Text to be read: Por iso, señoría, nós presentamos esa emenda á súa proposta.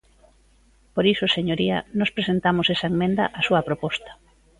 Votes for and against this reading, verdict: 1, 2, rejected